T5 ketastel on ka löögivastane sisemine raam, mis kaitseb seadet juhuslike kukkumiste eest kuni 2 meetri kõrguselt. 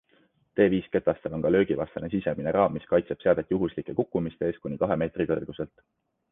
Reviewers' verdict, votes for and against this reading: rejected, 0, 2